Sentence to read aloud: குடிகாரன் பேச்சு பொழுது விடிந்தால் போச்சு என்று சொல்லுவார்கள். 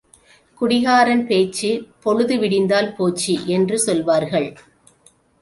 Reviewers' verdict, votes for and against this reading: rejected, 2, 3